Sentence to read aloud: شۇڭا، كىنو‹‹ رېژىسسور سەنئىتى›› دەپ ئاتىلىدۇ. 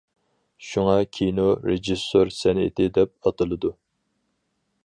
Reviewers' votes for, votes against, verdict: 2, 4, rejected